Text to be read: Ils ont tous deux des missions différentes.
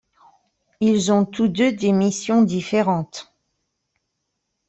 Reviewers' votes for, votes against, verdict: 2, 0, accepted